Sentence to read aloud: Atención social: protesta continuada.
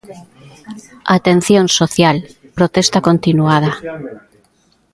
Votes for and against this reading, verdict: 2, 1, accepted